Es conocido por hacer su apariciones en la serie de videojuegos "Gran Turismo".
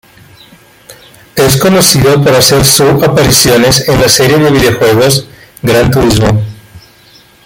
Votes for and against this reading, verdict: 2, 0, accepted